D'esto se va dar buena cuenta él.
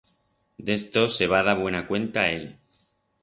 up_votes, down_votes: 4, 0